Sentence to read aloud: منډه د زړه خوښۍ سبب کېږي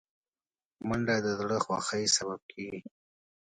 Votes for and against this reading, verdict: 2, 0, accepted